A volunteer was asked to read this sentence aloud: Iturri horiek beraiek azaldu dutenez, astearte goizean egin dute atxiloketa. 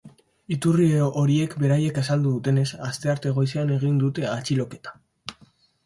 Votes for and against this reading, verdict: 4, 0, accepted